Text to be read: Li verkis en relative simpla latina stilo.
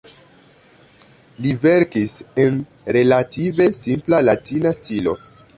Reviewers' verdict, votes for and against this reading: rejected, 1, 2